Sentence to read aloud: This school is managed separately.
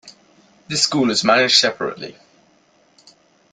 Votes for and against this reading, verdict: 2, 0, accepted